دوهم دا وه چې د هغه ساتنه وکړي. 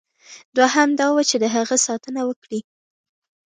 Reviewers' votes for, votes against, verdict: 2, 0, accepted